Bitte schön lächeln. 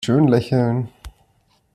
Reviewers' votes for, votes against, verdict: 0, 2, rejected